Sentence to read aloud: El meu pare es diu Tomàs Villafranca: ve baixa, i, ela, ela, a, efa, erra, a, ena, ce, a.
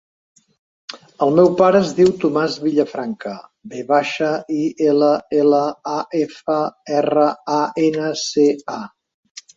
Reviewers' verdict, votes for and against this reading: accepted, 4, 0